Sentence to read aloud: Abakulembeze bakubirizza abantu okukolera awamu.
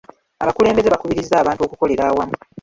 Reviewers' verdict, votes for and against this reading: rejected, 1, 2